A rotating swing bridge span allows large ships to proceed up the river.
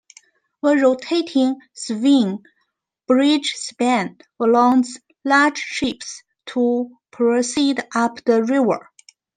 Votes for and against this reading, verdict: 1, 2, rejected